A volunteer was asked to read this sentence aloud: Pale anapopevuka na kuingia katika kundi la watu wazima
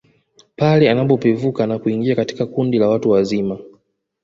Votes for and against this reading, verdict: 2, 0, accepted